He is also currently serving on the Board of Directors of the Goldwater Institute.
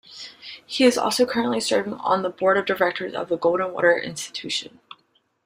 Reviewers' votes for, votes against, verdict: 2, 0, accepted